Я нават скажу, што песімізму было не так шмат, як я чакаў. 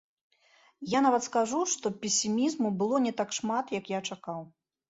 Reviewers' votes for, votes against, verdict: 2, 0, accepted